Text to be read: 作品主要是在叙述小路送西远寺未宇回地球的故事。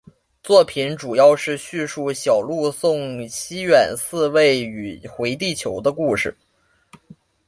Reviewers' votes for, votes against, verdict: 2, 0, accepted